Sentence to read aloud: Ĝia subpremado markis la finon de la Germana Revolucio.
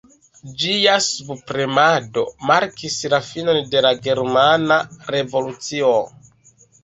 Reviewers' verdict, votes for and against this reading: accepted, 2, 0